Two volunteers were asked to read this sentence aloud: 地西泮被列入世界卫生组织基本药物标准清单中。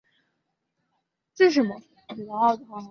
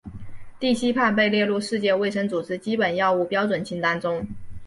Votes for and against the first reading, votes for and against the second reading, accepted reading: 1, 3, 4, 0, second